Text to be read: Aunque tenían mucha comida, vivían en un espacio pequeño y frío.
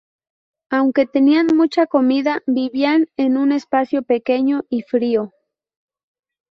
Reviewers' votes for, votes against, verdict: 4, 2, accepted